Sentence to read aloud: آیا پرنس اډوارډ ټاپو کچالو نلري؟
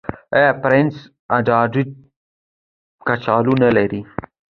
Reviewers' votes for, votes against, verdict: 1, 2, rejected